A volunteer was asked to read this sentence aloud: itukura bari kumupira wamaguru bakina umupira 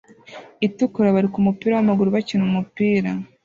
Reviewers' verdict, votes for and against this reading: accepted, 2, 0